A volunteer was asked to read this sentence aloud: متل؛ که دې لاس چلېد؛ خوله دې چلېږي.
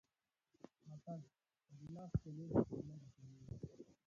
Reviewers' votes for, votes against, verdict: 1, 2, rejected